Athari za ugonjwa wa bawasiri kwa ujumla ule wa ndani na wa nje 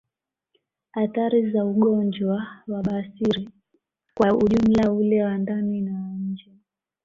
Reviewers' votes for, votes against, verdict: 2, 0, accepted